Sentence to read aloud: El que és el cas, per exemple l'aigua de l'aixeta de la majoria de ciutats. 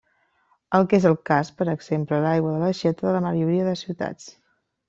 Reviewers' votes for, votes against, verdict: 2, 0, accepted